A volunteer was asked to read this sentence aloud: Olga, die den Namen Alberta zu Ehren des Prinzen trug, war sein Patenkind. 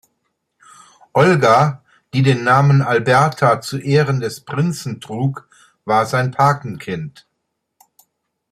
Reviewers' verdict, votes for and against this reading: accepted, 2, 0